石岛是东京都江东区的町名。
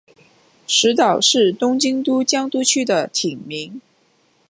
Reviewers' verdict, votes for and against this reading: rejected, 0, 2